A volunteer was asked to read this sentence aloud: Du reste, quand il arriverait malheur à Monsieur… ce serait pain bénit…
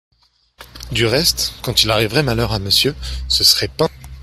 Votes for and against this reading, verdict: 1, 2, rejected